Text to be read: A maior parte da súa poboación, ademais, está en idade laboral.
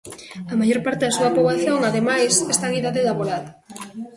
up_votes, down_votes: 0, 2